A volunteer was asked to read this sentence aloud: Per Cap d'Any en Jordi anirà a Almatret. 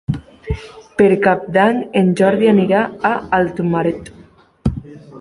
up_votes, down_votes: 1, 3